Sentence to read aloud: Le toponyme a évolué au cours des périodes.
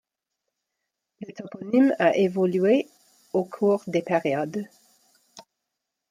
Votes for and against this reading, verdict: 2, 0, accepted